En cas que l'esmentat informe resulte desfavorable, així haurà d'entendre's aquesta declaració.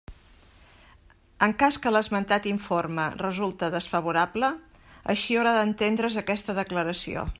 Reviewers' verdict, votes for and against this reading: accepted, 2, 0